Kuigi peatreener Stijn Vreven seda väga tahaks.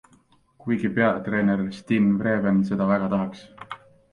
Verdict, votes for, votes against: accepted, 2, 0